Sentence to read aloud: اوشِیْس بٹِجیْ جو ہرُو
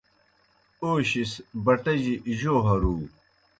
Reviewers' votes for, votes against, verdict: 2, 0, accepted